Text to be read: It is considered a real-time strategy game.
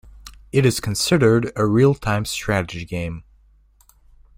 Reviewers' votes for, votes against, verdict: 2, 0, accepted